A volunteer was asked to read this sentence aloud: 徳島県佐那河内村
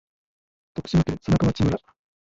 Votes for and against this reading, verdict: 1, 2, rejected